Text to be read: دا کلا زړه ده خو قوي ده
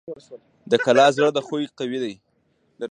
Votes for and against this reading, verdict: 1, 2, rejected